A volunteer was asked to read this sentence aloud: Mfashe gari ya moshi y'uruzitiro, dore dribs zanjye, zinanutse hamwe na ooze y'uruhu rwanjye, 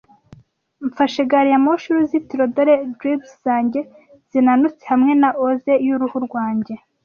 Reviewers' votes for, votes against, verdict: 2, 0, accepted